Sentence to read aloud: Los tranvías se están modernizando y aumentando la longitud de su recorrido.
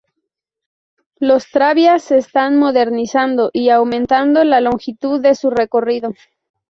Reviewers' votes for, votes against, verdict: 0, 2, rejected